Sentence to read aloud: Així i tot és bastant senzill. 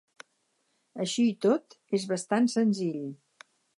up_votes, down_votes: 6, 0